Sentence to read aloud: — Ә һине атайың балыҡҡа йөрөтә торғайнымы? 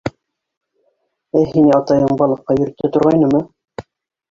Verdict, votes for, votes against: rejected, 1, 2